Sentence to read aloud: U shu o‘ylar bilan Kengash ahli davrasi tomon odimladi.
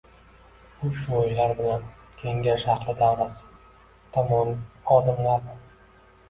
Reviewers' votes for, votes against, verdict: 1, 2, rejected